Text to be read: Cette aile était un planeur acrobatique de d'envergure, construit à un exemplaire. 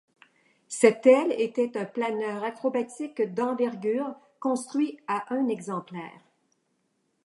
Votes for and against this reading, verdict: 1, 2, rejected